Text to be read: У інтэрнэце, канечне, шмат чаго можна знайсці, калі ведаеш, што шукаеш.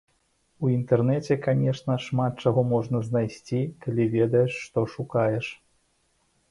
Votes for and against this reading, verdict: 1, 2, rejected